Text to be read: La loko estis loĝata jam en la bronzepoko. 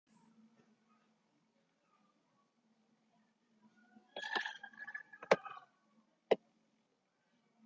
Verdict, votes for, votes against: rejected, 0, 3